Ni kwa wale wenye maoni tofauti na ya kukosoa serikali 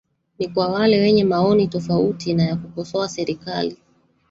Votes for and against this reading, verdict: 0, 2, rejected